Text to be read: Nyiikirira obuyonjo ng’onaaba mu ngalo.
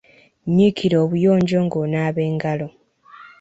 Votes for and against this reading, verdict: 0, 2, rejected